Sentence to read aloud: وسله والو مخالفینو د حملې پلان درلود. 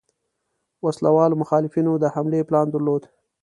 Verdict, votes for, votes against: accepted, 2, 0